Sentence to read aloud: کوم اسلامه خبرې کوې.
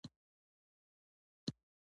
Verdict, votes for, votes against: accepted, 2, 0